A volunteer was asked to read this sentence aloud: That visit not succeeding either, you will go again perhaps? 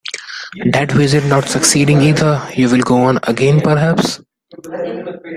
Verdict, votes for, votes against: rejected, 0, 2